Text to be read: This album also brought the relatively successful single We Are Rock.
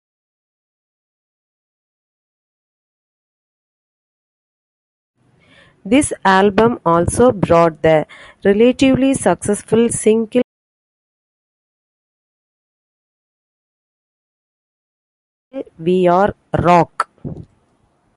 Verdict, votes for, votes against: rejected, 0, 2